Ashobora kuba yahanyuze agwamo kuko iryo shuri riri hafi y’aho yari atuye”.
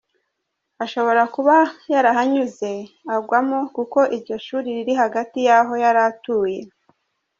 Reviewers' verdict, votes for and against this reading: accepted, 2, 0